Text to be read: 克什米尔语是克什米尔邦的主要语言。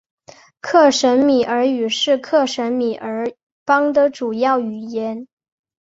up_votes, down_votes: 2, 0